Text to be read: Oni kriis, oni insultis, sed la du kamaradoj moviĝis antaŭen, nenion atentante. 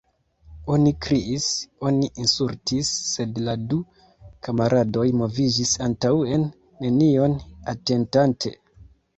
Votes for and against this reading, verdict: 2, 0, accepted